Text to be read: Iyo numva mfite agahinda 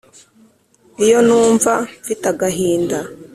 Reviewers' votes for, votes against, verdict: 2, 0, accepted